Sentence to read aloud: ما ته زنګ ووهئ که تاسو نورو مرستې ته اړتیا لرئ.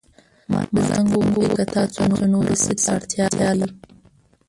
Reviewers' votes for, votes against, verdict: 1, 2, rejected